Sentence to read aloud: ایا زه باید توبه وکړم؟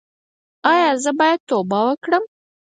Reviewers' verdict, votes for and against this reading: accepted, 4, 0